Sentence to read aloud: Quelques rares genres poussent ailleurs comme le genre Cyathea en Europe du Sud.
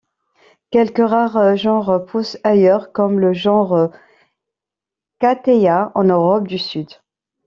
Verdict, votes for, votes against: rejected, 0, 2